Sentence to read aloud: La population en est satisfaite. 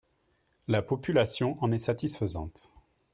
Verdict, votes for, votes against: rejected, 0, 2